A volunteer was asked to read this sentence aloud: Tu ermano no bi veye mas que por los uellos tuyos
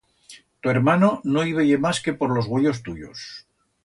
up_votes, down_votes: 1, 2